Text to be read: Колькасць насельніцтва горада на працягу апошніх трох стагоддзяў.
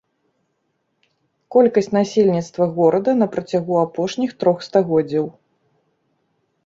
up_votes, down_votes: 2, 0